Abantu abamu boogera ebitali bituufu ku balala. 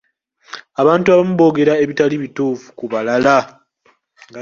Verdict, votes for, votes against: accepted, 2, 1